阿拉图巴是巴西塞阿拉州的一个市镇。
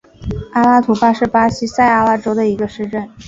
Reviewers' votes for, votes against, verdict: 3, 1, accepted